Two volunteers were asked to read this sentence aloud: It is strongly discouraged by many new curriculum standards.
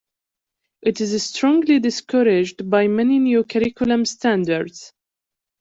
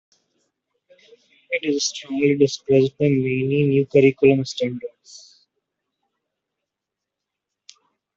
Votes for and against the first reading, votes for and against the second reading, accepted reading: 2, 1, 1, 2, first